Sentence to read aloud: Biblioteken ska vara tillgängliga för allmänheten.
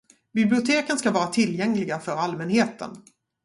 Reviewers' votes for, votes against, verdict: 4, 0, accepted